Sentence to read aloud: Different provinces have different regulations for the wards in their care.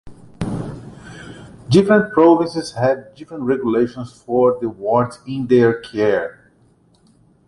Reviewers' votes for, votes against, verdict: 2, 0, accepted